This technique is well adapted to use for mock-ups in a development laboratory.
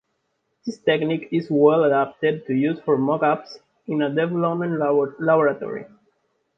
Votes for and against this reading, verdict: 0, 2, rejected